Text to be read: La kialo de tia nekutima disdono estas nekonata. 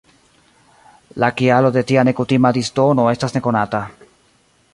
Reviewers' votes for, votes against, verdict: 1, 2, rejected